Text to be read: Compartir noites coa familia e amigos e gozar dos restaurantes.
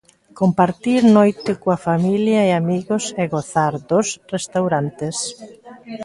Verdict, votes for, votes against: rejected, 0, 2